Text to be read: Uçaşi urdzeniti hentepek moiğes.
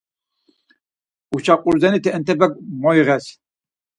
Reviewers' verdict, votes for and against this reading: rejected, 2, 4